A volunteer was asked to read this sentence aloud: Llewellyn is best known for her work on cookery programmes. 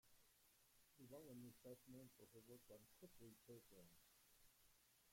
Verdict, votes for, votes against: rejected, 0, 2